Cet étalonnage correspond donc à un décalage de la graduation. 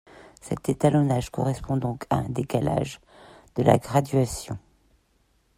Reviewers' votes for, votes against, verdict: 2, 0, accepted